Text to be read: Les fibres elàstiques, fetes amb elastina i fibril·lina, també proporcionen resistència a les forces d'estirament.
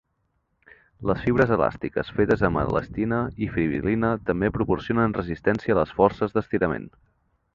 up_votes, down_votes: 3, 0